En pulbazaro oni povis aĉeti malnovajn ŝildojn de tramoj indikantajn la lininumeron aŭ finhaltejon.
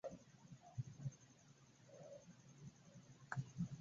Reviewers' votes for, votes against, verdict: 2, 0, accepted